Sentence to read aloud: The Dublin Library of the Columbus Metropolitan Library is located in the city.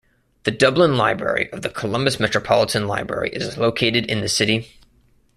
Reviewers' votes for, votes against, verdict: 2, 0, accepted